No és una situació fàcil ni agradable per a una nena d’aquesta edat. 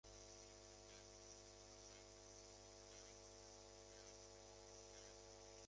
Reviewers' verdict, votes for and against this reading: rejected, 0, 5